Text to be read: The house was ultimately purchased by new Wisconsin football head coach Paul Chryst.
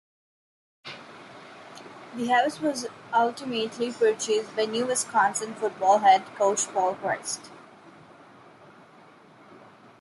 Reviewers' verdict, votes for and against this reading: accepted, 2, 0